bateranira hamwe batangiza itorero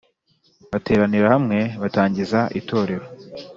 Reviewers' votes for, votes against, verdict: 3, 0, accepted